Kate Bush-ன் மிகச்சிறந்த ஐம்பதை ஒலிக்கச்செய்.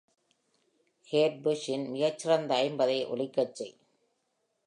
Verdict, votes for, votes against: rejected, 1, 2